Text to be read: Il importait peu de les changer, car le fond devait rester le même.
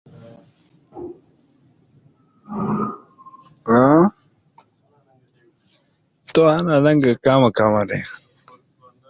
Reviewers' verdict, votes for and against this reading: rejected, 0, 2